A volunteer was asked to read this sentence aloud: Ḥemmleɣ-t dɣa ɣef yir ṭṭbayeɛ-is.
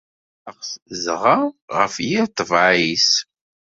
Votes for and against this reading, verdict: 1, 2, rejected